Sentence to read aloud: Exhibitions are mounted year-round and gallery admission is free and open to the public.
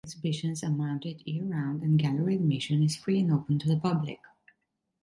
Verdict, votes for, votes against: rejected, 0, 2